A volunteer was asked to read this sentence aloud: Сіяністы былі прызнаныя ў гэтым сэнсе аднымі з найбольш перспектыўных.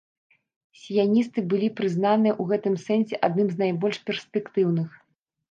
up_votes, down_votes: 0, 2